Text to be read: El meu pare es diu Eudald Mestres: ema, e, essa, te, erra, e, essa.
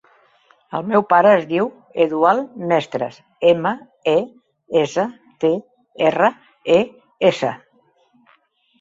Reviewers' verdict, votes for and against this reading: rejected, 2, 3